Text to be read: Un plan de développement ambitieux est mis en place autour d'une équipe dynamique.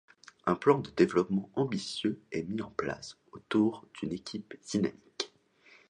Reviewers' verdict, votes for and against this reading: rejected, 0, 2